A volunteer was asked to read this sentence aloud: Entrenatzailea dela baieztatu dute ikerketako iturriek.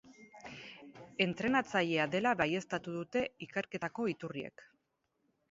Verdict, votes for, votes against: rejected, 2, 2